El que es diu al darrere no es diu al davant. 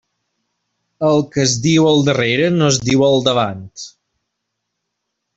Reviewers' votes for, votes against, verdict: 2, 0, accepted